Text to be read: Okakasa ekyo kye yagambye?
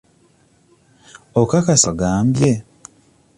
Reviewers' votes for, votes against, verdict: 0, 2, rejected